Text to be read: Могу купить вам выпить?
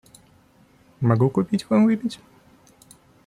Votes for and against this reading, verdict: 2, 1, accepted